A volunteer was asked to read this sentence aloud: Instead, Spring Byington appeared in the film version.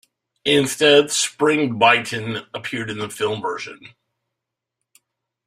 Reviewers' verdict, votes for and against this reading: accepted, 2, 0